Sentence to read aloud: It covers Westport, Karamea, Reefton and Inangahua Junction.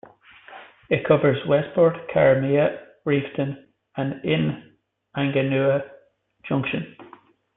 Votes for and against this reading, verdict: 1, 2, rejected